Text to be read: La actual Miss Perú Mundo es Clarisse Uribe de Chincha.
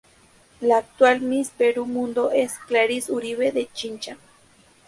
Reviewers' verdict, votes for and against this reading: accepted, 2, 0